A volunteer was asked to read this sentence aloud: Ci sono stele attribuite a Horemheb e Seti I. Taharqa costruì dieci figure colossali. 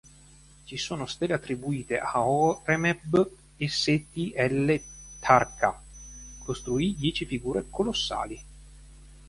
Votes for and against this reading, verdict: 1, 3, rejected